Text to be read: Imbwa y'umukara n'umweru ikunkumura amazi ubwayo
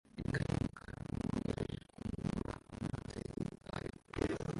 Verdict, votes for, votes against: rejected, 0, 2